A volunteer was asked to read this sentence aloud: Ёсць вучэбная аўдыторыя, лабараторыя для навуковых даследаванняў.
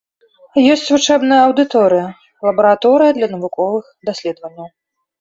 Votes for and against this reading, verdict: 2, 1, accepted